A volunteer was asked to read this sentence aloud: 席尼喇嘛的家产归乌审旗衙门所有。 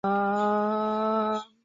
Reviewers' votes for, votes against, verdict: 0, 2, rejected